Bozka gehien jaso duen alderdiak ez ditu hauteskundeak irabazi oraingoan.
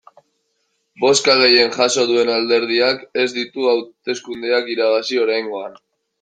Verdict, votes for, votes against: accepted, 2, 1